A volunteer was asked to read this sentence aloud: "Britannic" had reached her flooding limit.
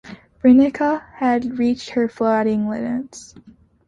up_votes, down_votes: 0, 2